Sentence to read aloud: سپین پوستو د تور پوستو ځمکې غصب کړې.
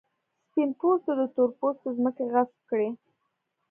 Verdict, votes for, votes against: rejected, 1, 2